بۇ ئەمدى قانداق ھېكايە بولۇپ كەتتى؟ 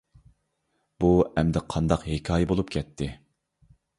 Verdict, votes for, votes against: accepted, 2, 0